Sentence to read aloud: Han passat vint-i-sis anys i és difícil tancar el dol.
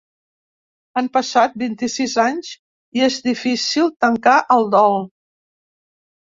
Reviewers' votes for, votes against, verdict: 2, 0, accepted